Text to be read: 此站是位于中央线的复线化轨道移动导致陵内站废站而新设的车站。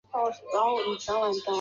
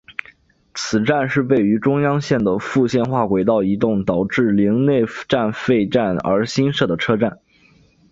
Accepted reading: second